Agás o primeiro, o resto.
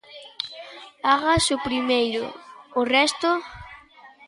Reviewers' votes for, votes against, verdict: 2, 0, accepted